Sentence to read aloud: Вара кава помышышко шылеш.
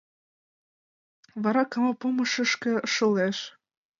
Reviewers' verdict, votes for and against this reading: accepted, 2, 0